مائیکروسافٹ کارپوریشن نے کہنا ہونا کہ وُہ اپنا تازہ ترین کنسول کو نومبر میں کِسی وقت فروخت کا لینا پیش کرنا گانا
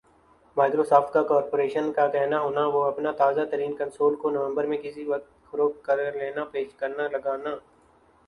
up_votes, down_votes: 0, 3